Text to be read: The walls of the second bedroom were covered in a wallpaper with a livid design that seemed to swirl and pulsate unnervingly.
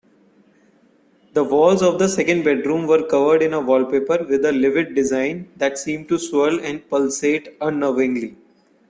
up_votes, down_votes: 2, 1